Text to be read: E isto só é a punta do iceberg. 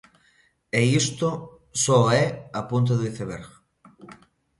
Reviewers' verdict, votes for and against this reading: accepted, 2, 0